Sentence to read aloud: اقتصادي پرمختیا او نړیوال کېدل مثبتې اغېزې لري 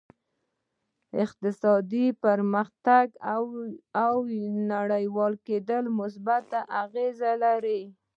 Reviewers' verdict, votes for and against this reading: rejected, 1, 2